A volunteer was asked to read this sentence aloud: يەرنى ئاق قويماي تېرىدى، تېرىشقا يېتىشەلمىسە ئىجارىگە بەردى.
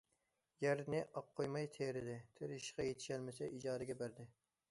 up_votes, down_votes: 2, 0